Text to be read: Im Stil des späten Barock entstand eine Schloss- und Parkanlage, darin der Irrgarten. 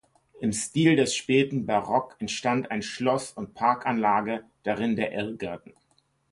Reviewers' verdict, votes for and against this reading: rejected, 2, 3